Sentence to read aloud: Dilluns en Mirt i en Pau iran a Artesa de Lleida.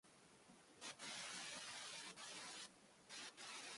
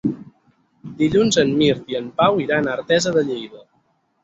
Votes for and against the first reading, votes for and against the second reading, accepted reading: 0, 2, 6, 0, second